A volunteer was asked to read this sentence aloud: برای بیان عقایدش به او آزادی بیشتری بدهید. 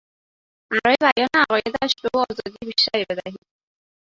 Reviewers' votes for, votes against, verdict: 0, 4, rejected